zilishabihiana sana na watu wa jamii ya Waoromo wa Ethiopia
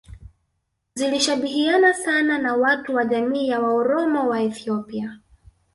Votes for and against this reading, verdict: 2, 0, accepted